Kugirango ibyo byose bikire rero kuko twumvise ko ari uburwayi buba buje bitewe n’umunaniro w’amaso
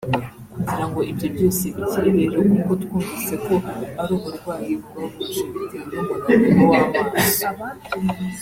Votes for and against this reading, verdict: 0, 2, rejected